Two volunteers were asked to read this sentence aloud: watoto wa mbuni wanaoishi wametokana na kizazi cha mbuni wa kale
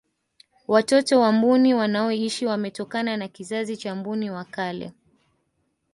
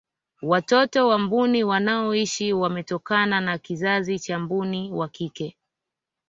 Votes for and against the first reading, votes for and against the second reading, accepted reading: 3, 0, 1, 2, first